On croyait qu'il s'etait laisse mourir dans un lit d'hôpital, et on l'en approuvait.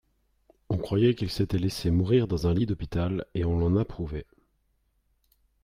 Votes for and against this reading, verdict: 3, 0, accepted